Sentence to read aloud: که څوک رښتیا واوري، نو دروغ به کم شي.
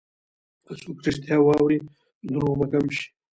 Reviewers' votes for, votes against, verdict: 2, 1, accepted